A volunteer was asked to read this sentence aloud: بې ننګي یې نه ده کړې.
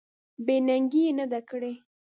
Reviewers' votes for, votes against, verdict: 2, 0, accepted